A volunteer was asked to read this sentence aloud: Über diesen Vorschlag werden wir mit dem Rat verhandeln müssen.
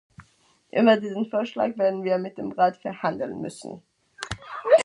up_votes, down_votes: 0, 2